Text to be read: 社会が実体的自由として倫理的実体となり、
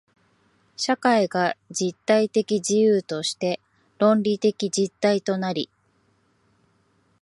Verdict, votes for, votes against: rejected, 2, 3